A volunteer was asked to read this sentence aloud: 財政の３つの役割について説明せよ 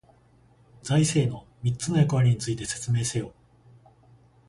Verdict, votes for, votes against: rejected, 0, 2